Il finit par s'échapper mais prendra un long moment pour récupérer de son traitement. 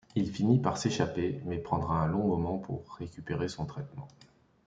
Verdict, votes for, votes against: rejected, 1, 2